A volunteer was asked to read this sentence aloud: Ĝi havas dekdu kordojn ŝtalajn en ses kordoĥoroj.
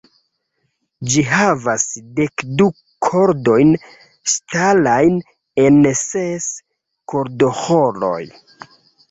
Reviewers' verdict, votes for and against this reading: accepted, 2, 1